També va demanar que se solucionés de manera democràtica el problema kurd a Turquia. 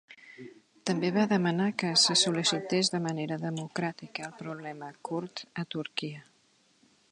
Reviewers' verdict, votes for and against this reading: rejected, 1, 2